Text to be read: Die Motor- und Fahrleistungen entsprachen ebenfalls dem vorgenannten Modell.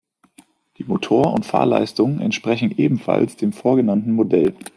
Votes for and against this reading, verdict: 1, 2, rejected